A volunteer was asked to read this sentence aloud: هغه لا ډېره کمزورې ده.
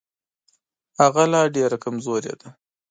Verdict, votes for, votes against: accepted, 2, 0